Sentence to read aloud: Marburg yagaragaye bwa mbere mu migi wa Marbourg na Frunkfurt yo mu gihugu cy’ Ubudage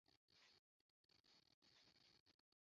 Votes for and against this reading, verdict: 0, 2, rejected